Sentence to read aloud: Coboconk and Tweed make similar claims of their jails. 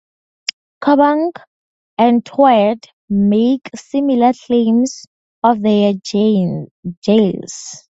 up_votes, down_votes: 4, 2